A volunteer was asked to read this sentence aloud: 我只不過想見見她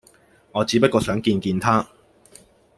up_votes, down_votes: 2, 0